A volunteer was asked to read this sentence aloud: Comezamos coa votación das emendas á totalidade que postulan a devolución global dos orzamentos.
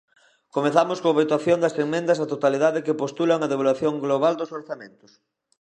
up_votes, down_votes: 0, 2